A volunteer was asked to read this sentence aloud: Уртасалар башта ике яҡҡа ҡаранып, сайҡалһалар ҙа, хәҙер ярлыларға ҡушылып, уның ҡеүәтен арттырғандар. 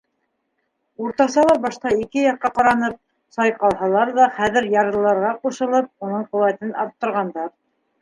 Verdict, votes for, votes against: rejected, 0, 2